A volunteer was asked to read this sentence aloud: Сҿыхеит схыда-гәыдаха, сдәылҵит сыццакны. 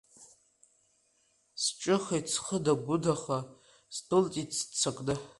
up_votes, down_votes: 2, 1